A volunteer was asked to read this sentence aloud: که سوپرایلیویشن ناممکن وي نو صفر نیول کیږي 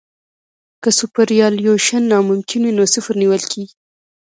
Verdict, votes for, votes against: accepted, 2, 0